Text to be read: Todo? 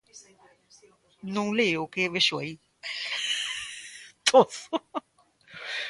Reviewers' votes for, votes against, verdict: 0, 2, rejected